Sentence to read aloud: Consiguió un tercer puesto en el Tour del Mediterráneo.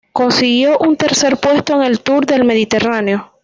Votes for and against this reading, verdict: 2, 0, accepted